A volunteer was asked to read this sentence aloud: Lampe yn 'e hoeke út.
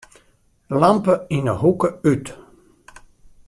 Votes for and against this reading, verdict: 2, 0, accepted